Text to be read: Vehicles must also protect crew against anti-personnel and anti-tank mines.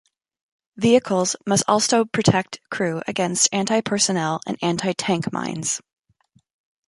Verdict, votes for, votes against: accepted, 2, 0